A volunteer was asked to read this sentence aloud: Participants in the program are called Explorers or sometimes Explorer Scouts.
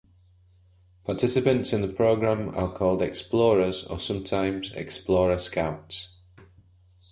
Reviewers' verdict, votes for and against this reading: accepted, 2, 0